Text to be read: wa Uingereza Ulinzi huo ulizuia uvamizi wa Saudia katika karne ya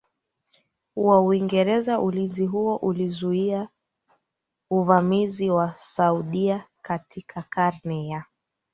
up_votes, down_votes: 2, 3